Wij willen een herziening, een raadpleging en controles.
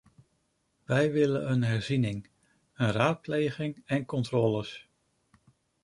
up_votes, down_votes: 2, 0